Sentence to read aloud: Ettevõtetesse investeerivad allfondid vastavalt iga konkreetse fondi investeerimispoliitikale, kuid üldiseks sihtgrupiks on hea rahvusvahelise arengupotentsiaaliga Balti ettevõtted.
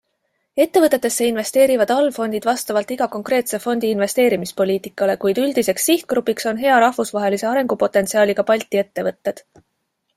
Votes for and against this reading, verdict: 2, 0, accepted